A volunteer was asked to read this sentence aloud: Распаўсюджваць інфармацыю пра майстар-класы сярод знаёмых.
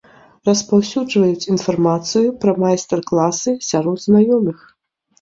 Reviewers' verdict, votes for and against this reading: rejected, 1, 2